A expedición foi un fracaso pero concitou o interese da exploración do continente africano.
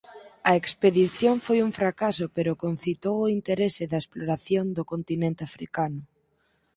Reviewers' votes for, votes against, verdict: 4, 0, accepted